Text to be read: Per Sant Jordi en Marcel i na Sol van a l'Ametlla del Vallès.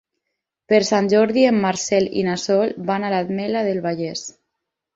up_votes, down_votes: 6, 2